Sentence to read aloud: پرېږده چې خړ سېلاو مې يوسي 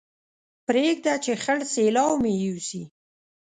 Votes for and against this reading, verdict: 2, 0, accepted